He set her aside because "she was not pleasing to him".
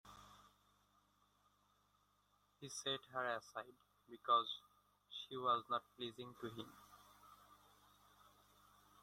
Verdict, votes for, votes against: rejected, 1, 2